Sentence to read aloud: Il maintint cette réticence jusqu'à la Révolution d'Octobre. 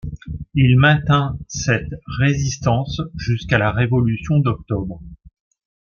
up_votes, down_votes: 1, 2